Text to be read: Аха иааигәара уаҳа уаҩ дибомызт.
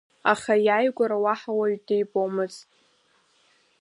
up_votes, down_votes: 1, 2